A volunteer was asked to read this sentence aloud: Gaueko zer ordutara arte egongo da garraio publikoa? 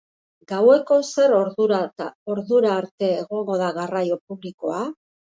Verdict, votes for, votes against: rejected, 0, 2